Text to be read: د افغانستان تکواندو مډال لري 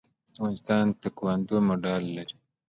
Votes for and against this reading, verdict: 2, 0, accepted